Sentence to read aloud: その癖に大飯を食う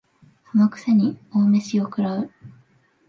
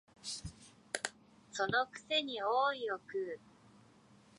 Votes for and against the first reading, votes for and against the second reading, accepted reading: 2, 1, 0, 3, first